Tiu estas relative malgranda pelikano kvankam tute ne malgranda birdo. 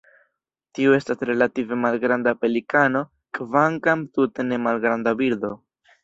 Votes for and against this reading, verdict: 2, 0, accepted